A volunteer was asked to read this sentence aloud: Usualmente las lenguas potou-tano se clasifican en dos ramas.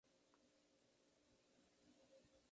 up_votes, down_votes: 0, 4